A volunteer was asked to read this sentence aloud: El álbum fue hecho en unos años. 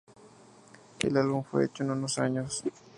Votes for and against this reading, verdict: 2, 0, accepted